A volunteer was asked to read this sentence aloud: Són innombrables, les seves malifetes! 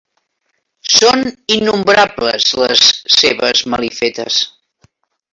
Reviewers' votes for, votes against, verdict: 2, 0, accepted